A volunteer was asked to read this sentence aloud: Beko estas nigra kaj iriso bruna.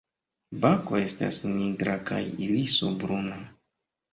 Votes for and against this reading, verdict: 0, 2, rejected